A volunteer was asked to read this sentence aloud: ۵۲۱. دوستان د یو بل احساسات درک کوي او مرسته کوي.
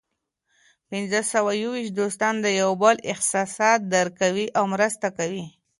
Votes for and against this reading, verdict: 0, 2, rejected